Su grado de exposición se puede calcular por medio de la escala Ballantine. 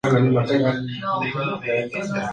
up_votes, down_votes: 0, 2